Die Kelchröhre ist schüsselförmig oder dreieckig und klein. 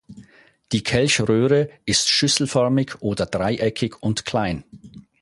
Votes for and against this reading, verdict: 4, 0, accepted